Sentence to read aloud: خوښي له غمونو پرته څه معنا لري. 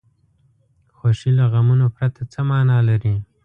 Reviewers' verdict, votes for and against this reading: accepted, 2, 0